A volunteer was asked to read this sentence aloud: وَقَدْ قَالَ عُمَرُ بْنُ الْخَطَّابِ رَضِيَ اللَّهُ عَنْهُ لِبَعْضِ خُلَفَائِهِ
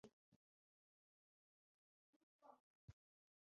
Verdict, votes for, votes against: rejected, 0, 2